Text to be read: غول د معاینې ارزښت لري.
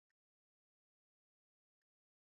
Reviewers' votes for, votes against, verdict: 2, 3, rejected